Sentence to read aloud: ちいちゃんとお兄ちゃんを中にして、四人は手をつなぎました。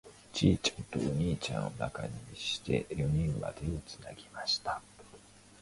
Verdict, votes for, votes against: accepted, 4, 1